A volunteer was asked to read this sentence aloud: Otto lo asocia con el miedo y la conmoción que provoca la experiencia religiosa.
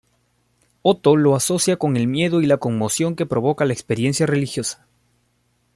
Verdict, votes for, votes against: accepted, 2, 1